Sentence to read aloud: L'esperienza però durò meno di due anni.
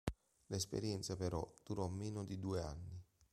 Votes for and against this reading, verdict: 2, 0, accepted